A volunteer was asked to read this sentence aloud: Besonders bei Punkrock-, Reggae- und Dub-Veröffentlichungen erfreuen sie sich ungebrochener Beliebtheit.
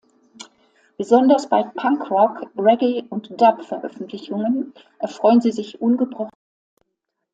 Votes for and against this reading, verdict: 0, 2, rejected